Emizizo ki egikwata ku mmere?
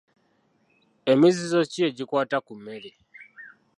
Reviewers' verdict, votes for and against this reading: accepted, 2, 0